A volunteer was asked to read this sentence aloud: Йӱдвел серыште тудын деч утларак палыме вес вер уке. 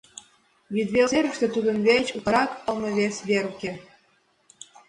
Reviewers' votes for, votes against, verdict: 2, 0, accepted